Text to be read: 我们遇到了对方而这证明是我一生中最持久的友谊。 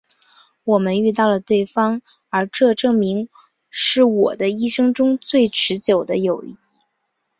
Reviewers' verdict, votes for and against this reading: accepted, 7, 2